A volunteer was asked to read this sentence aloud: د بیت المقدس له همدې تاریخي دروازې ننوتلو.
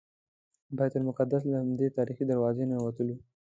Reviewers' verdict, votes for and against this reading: accepted, 2, 0